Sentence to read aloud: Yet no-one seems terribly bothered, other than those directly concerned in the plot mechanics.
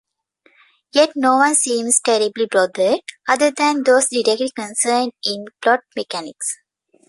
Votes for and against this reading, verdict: 0, 2, rejected